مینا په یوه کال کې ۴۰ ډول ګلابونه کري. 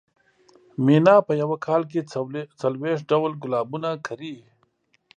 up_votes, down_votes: 0, 2